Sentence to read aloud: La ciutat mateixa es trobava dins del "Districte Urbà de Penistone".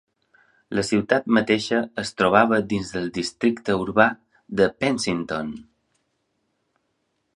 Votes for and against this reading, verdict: 0, 2, rejected